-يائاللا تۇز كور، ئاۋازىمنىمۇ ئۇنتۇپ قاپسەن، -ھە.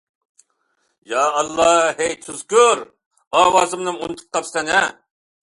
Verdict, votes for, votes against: rejected, 1, 2